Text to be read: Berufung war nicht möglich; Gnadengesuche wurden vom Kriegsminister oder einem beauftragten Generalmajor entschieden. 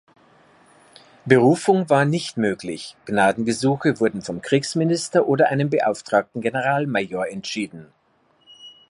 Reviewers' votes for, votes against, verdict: 2, 0, accepted